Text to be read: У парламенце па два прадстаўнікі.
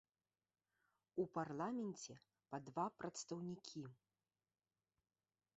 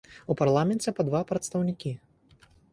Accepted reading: second